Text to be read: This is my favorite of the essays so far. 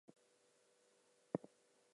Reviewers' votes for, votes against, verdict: 0, 4, rejected